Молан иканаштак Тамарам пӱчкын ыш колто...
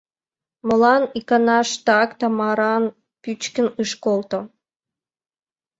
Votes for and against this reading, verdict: 0, 3, rejected